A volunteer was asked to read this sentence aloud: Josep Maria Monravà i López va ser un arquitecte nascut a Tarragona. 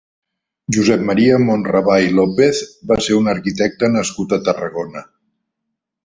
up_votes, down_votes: 2, 0